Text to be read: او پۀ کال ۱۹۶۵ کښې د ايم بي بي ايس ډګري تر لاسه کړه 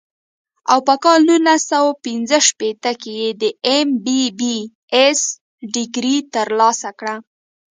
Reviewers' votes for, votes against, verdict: 0, 2, rejected